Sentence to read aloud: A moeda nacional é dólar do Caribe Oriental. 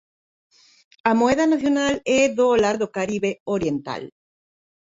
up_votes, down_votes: 0, 2